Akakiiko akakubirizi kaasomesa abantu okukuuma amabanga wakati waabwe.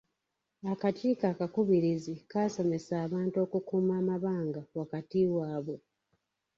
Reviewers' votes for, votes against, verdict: 2, 1, accepted